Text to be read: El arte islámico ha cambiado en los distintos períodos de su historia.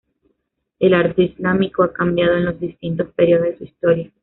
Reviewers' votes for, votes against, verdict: 2, 0, accepted